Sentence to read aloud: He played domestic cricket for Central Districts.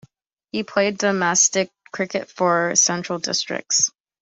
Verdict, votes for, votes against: accepted, 2, 0